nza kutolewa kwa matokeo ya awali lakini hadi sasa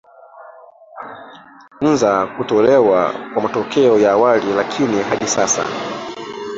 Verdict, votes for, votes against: rejected, 0, 2